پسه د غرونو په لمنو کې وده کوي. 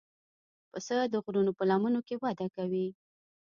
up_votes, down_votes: 2, 1